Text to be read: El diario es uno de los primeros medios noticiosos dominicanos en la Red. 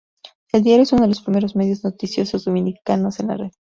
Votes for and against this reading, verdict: 2, 0, accepted